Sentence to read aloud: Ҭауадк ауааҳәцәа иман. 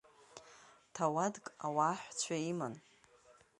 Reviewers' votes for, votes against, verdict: 2, 0, accepted